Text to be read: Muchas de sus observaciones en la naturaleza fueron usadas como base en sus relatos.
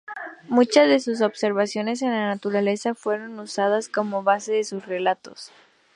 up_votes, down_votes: 0, 2